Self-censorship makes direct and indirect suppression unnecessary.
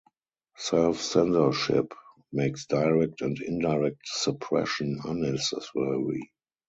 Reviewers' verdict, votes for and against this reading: accepted, 4, 0